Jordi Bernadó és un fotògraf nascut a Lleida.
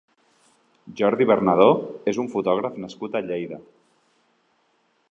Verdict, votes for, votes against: accepted, 3, 0